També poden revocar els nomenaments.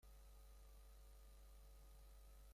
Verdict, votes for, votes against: rejected, 0, 2